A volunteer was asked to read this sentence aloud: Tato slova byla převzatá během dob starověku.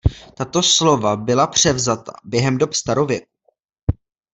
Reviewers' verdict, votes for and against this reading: accepted, 2, 0